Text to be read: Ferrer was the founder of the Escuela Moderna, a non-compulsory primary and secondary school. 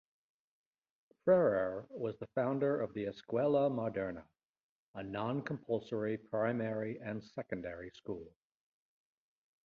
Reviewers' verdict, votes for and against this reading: accepted, 2, 0